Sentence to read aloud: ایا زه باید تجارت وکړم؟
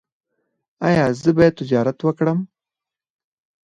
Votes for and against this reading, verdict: 0, 4, rejected